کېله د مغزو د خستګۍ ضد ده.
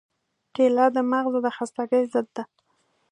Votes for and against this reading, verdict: 2, 1, accepted